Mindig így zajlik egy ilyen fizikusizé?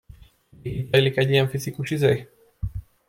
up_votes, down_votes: 0, 2